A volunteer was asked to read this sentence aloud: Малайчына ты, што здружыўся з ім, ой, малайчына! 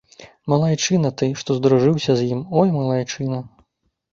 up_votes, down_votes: 2, 0